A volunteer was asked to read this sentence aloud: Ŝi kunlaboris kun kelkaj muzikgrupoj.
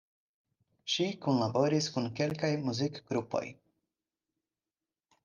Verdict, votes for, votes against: accepted, 4, 0